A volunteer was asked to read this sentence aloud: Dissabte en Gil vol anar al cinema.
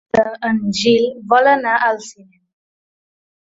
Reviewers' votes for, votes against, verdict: 0, 2, rejected